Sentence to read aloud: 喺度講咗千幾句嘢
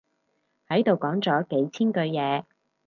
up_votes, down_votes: 0, 4